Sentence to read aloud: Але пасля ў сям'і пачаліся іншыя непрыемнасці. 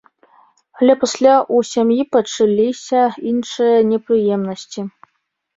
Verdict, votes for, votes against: accepted, 2, 0